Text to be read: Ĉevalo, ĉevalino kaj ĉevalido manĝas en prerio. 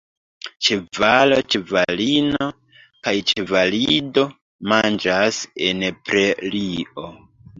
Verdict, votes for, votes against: rejected, 1, 2